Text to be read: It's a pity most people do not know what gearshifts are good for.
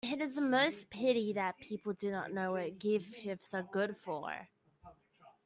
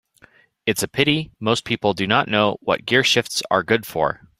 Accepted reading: second